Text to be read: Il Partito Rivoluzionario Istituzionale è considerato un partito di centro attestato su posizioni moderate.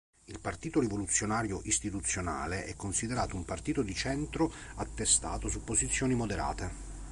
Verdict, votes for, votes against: accepted, 2, 0